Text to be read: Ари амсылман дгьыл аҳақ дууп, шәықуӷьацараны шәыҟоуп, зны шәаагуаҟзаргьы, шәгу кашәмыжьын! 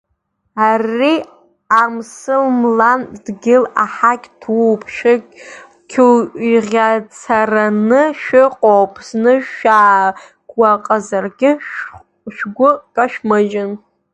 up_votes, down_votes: 0, 2